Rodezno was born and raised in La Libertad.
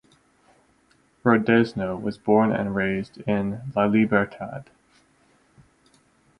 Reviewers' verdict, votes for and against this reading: rejected, 2, 4